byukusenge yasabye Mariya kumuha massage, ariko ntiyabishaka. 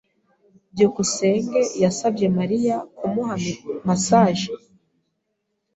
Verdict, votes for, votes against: rejected, 2, 3